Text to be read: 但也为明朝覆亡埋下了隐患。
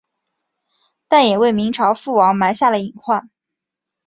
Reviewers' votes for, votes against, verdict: 5, 0, accepted